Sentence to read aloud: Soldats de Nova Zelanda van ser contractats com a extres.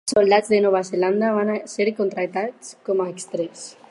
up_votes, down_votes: 4, 2